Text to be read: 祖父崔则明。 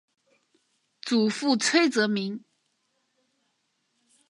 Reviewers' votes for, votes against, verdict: 3, 0, accepted